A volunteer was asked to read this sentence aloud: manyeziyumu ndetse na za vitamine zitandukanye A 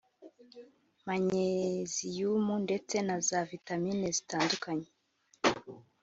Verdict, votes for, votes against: rejected, 1, 3